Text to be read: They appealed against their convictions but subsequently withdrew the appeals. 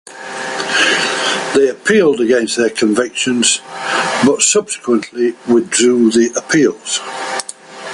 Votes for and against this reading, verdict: 1, 2, rejected